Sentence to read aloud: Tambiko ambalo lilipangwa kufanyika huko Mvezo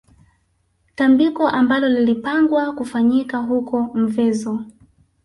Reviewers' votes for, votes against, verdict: 2, 0, accepted